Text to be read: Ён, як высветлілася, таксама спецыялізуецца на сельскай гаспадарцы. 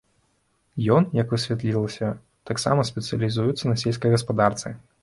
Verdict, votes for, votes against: rejected, 0, 2